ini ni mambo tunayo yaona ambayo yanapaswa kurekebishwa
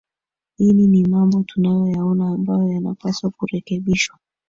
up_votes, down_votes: 2, 1